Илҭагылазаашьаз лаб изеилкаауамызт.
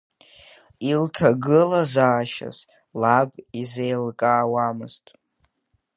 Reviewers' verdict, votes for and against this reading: accepted, 2, 0